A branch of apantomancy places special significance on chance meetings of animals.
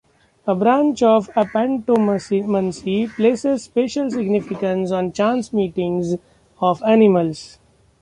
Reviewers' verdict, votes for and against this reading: rejected, 0, 2